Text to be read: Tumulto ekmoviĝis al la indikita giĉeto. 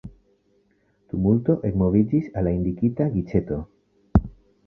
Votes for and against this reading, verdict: 1, 2, rejected